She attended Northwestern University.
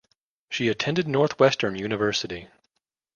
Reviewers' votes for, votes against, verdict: 2, 0, accepted